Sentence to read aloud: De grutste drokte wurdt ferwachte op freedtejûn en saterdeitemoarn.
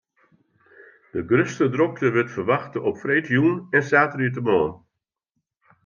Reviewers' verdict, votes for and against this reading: accepted, 2, 0